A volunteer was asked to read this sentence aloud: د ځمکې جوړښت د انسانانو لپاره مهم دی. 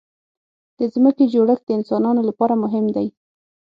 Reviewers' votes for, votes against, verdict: 6, 0, accepted